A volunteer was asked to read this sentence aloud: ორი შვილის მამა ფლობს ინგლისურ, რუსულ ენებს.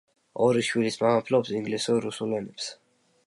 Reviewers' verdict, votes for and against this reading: accepted, 3, 0